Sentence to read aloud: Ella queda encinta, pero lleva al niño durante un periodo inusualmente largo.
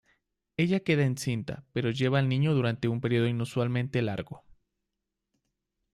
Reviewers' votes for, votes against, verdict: 2, 0, accepted